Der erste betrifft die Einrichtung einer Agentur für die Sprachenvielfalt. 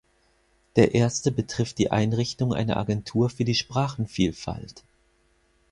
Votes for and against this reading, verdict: 4, 0, accepted